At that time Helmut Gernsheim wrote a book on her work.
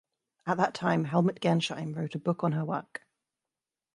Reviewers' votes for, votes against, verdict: 2, 0, accepted